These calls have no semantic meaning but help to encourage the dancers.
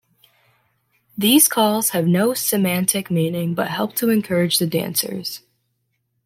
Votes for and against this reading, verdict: 2, 0, accepted